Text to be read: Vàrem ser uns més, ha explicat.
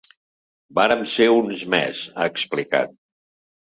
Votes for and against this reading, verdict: 2, 0, accepted